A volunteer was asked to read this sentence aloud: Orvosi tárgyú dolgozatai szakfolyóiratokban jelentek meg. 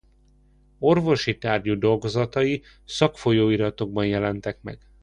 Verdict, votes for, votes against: accepted, 2, 0